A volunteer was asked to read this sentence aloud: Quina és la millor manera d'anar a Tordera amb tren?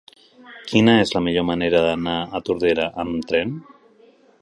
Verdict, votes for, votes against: accepted, 4, 0